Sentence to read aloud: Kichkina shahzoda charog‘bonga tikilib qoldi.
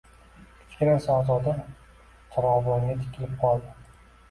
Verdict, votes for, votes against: accepted, 2, 0